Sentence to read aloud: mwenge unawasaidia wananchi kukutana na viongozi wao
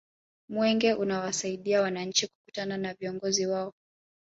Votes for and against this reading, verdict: 1, 2, rejected